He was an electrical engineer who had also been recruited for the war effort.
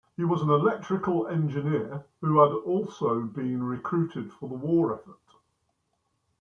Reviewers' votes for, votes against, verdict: 1, 2, rejected